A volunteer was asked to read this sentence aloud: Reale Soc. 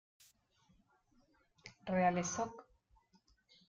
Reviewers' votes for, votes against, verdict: 1, 2, rejected